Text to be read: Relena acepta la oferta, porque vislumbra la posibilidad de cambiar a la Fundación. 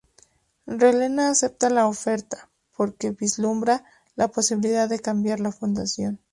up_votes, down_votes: 2, 2